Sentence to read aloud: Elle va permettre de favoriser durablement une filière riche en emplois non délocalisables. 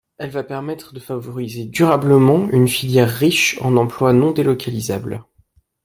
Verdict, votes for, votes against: rejected, 1, 2